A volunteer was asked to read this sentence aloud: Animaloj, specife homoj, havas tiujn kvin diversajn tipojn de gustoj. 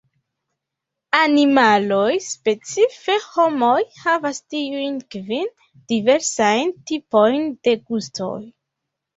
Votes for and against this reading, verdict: 2, 0, accepted